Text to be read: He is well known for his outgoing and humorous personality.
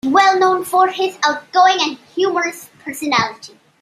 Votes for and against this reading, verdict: 0, 2, rejected